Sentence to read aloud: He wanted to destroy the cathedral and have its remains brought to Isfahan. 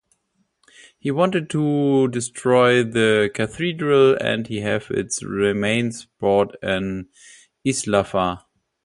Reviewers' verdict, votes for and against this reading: rejected, 0, 2